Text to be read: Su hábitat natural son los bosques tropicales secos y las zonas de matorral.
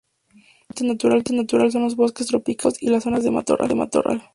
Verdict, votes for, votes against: rejected, 0, 2